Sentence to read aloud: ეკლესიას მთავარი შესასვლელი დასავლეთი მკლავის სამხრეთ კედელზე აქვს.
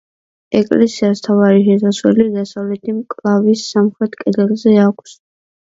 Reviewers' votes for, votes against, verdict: 2, 0, accepted